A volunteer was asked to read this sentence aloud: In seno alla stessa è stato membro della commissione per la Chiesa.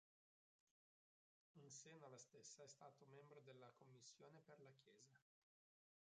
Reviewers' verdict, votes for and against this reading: rejected, 0, 2